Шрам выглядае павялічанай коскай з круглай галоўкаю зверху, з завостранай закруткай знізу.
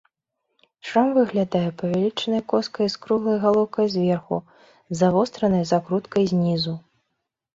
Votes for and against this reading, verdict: 2, 0, accepted